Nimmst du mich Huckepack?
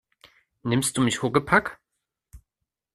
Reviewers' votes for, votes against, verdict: 2, 0, accepted